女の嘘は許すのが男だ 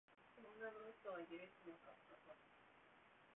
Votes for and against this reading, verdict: 1, 3, rejected